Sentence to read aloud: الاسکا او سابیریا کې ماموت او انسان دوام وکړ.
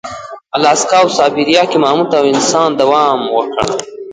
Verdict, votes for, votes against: rejected, 1, 2